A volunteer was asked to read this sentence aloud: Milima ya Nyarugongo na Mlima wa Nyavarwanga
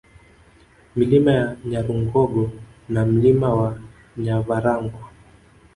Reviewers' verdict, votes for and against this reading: rejected, 1, 2